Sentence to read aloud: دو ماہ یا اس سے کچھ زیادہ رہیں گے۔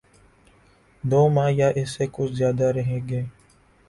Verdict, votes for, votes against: accepted, 3, 0